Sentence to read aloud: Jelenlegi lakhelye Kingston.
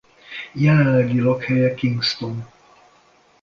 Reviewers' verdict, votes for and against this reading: accepted, 2, 0